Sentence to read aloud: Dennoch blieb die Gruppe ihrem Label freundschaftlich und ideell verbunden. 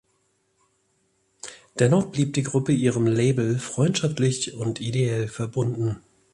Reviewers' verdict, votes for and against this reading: accepted, 2, 0